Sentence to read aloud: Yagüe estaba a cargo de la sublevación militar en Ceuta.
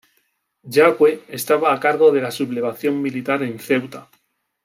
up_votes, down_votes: 2, 0